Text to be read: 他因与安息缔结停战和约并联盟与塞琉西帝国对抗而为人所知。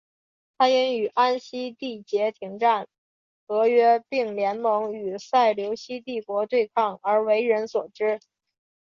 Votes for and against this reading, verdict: 4, 1, accepted